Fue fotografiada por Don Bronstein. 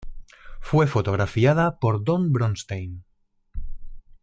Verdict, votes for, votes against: rejected, 0, 2